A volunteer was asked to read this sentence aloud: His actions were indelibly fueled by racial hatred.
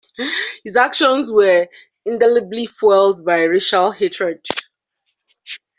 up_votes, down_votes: 1, 2